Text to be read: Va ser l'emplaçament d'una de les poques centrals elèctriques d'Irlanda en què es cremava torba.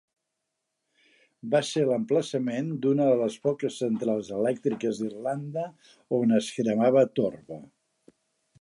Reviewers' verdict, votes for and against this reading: rejected, 0, 2